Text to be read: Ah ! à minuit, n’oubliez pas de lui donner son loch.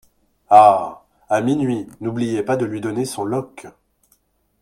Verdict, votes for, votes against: accepted, 2, 0